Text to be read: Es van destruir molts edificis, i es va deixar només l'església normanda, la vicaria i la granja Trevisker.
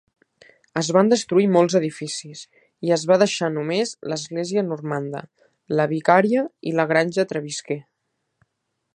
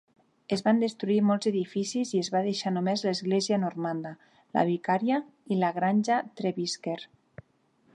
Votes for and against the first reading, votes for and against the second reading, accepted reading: 2, 1, 0, 3, first